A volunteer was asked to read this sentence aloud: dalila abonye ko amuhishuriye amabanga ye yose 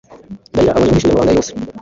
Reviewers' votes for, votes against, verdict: 0, 2, rejected